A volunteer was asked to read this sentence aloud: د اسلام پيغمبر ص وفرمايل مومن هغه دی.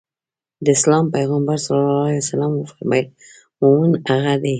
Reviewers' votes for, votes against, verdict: 0, 2, rejected